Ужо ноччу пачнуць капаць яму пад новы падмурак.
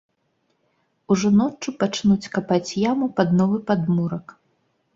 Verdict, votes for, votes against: accepted, 2, 0